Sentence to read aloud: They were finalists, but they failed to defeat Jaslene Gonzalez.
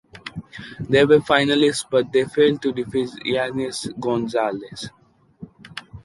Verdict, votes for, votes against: accepted, 2, 1